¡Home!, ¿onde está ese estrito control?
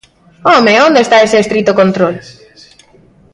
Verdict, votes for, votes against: rejected, 1, 2